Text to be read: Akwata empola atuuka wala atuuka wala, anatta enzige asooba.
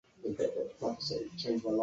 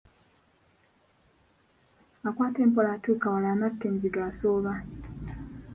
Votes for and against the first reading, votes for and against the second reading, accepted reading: 0, 2, 2, 1, second